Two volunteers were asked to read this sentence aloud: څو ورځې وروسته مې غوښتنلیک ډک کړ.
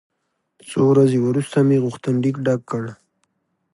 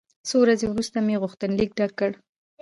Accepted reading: first